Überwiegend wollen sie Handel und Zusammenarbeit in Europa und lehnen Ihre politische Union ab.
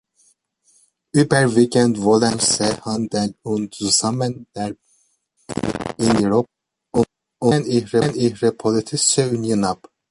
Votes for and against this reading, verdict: 1, 2, rejected